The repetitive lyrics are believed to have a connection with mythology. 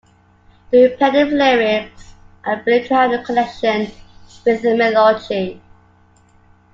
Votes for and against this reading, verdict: 0, 2, rejected